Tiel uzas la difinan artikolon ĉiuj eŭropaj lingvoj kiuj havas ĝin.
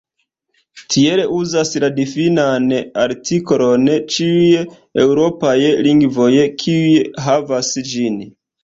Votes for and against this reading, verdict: 1, 2, rejected